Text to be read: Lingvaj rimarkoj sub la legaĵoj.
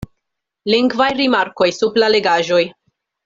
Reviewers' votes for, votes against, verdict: 2, 0, accepted